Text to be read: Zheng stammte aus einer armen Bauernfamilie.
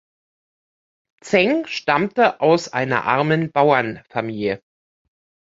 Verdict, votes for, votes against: accepted, 2, 1